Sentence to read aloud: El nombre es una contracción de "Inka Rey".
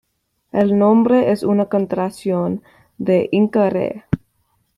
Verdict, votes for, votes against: accepted, 2, 0